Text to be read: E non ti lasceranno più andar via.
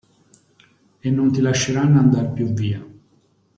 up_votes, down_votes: 0, 2